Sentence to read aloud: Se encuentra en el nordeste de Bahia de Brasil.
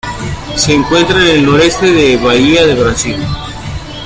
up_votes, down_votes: 0, 2